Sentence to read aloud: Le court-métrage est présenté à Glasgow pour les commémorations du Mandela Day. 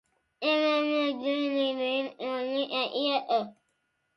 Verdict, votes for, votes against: rejected, 0, 2